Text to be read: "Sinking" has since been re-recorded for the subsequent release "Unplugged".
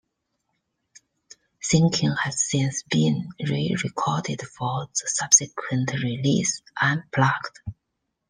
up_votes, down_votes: 2, 0